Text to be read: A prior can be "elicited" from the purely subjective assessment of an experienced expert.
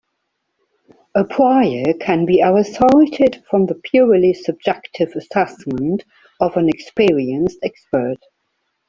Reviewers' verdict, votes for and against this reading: rejected, 0, 2